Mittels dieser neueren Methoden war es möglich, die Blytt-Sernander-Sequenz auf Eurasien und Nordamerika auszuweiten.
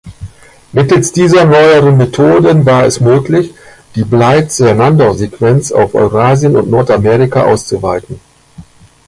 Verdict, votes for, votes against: rejected, 1, 2